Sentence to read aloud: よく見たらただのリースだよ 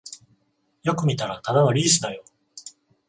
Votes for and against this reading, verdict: 14, 0, accepted